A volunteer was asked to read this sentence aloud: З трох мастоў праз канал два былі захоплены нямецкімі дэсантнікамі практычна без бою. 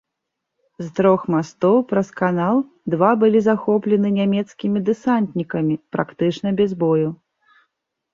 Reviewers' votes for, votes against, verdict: 1, 2, rejected